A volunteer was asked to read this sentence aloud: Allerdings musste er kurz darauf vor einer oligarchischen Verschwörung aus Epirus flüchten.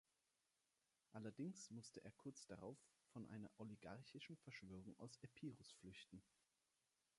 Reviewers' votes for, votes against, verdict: 2, 0, accepted